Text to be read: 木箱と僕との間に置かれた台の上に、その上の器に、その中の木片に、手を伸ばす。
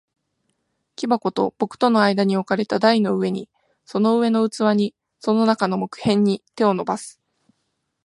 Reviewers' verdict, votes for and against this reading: accepted, 2, 0